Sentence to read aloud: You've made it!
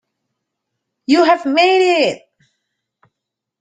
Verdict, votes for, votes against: rejected, 0, 2